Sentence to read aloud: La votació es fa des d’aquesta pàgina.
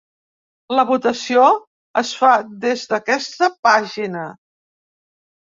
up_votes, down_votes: 3, 0